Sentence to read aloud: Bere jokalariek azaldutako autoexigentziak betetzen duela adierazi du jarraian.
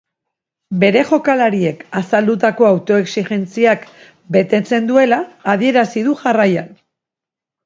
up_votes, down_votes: 4, 0